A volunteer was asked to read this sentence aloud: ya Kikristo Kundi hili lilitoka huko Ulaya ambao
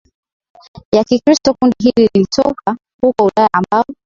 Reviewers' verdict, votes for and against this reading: accepted, 2, 1